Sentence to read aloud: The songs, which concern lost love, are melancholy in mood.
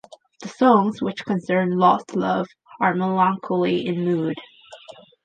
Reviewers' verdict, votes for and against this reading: rejected, 0, 2